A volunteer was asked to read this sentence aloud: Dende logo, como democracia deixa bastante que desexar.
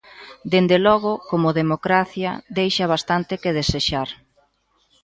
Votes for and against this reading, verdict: 2, 0, accepted